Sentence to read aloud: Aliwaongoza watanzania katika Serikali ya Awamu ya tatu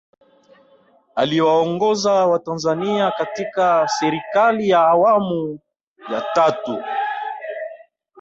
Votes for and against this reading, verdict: 1, 2, rejected